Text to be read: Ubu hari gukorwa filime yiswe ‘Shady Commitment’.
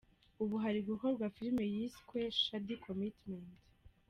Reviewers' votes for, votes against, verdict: 0, 2, rejected